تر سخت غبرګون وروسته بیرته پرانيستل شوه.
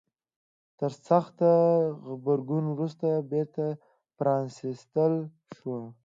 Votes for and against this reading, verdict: 0, 2, rejected